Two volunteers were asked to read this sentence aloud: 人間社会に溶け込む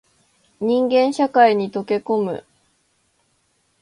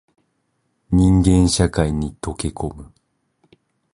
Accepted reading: first